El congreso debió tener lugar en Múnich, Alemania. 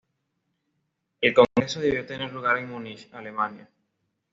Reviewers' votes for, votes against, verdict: 2, 1, accepted